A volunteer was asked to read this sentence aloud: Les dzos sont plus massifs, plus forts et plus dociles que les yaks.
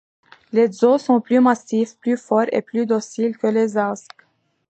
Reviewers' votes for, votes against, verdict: 1, 2, rejected